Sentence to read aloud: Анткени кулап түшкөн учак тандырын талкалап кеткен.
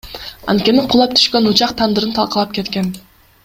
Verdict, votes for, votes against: rejected, 1, 2